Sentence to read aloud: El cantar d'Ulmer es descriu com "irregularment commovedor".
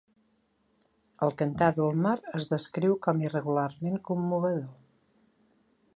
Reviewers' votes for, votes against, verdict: 2, 0, accepted